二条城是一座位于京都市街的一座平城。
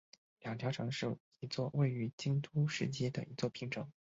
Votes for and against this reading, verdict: 2, 2, rejected